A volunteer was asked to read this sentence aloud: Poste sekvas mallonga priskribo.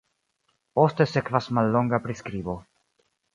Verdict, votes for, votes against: accepted, 2, 1